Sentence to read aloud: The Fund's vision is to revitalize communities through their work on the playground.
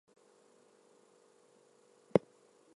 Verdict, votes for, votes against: rejected, 0, 2